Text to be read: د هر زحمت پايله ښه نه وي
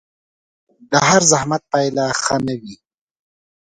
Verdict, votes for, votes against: accepted, 2, 0